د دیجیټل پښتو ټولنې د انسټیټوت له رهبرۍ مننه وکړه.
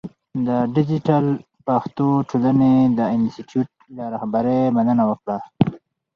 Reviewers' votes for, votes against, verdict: 0, 2, rejected